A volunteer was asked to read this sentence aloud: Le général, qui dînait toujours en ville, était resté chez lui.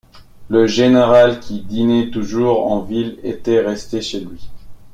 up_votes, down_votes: 1, 2